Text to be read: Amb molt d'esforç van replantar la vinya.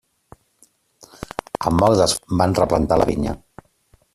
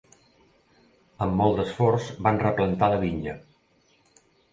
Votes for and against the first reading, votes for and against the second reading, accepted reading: 0, 2, 2, 0, second